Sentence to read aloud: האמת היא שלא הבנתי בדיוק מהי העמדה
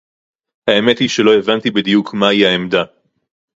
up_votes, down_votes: 2, 0